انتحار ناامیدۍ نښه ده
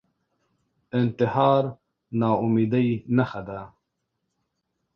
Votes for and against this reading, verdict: 0, 2, rejected